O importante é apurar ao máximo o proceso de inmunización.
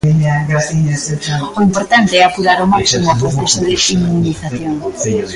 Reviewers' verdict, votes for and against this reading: rejected, 0, 2